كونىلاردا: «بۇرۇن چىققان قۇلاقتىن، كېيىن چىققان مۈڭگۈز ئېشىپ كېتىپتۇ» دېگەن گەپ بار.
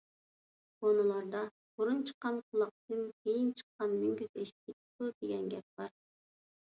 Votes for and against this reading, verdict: 1, 2, rejected